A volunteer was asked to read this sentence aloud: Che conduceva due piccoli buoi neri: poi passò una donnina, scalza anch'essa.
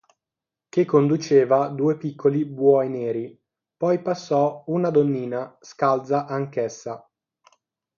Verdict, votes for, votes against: accepted, 6, 0